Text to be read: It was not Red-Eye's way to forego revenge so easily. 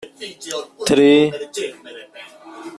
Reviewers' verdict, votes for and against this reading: rejected, 0, 2